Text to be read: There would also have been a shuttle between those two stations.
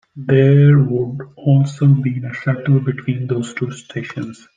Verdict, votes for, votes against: accepted, 2, 1